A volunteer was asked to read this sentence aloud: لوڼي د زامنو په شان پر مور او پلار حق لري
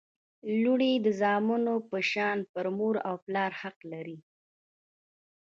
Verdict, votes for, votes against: rejected, 1, 2